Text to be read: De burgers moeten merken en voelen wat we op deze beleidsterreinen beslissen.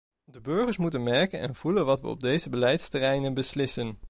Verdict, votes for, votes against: rejected, 1, 2